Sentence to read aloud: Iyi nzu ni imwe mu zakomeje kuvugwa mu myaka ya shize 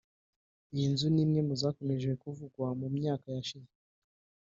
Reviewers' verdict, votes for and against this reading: rejected, 0, 3